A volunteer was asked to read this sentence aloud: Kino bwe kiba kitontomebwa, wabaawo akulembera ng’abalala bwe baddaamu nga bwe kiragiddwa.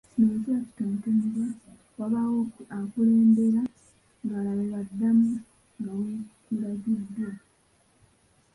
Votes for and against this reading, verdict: 0, 2, rejected